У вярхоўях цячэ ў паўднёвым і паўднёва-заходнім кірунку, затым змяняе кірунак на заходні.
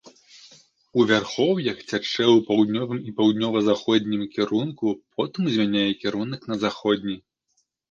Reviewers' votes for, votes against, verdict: 0, 2, rejected